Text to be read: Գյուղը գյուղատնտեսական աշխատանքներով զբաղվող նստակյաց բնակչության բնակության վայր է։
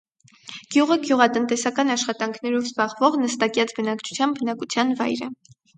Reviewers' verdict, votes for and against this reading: accepted, 4, 0